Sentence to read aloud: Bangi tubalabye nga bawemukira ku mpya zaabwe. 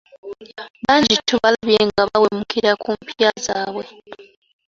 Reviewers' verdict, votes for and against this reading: rejected, 1, 2